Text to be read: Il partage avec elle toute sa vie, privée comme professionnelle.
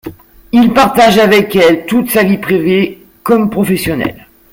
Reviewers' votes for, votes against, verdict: 0, 2, rejected